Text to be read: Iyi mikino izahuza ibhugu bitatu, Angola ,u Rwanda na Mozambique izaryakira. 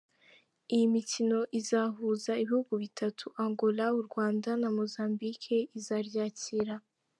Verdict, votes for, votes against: accepted, 2, 0